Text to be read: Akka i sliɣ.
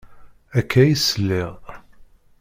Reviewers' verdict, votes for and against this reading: accepted, 2, 0